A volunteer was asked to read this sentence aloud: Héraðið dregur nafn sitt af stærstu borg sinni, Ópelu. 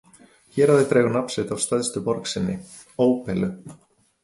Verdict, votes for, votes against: rejected, 0, 2